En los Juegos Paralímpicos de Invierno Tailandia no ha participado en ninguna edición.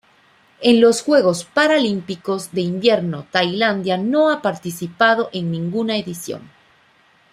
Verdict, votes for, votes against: accepted, 2, 0